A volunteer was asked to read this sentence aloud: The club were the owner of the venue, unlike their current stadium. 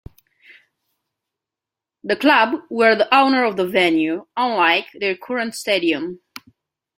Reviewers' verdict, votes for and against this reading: accepted, 2, 0